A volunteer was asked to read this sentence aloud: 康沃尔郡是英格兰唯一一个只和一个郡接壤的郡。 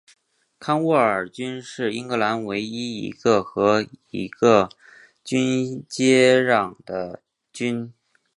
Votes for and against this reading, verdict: 2, 0, accepted